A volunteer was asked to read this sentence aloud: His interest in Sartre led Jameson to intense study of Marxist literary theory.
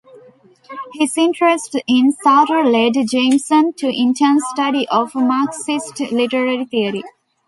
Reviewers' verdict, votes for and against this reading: rejected, 1, 2